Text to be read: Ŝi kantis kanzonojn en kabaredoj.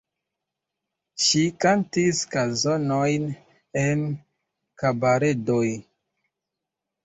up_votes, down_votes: 2, 0